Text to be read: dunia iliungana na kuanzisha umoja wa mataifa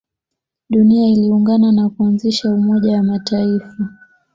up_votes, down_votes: 2, 0